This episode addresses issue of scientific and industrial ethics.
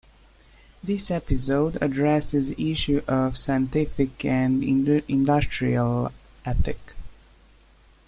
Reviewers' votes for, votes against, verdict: 1, 3, rejected